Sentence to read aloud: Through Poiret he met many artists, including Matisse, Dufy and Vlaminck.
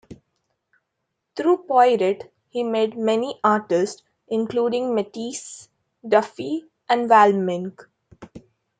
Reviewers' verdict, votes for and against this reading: rejected, 1, 2